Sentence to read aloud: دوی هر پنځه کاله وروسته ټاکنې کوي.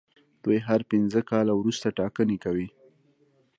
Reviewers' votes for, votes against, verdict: 0, 2, rejected